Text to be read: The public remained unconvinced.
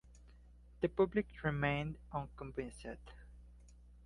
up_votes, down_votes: 1, 2